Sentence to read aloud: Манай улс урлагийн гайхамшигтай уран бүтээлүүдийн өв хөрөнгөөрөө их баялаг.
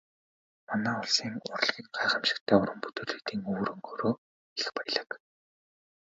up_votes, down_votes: 2, 0